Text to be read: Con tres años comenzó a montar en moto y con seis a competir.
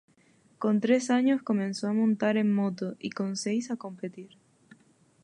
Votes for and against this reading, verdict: 2, 0, accepted